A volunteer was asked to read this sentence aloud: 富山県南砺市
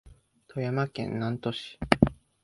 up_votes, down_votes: 2, 0